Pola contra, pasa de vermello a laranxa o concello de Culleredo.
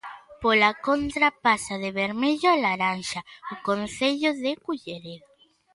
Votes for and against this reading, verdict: 2, 0, accepted